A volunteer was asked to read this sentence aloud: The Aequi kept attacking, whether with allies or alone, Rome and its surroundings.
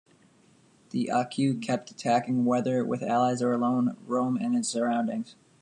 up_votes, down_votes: 1, 2